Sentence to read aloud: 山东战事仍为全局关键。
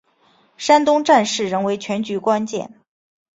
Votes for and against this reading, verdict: 3, 1, accepted